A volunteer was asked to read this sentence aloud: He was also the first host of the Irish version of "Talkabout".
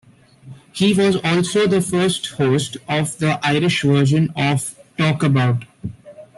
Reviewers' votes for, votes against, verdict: 2, 0, accepted